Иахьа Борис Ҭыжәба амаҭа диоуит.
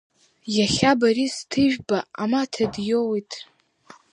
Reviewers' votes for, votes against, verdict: 2, 0, accepted